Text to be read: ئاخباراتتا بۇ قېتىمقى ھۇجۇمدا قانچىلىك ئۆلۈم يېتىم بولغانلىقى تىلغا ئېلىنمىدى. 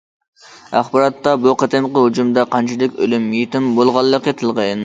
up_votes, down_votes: 0, 2